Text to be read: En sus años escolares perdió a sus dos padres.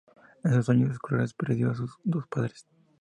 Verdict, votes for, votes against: accepted, 2, 0